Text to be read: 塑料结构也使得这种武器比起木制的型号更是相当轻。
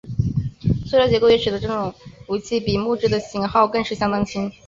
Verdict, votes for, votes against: accepted, 4, 0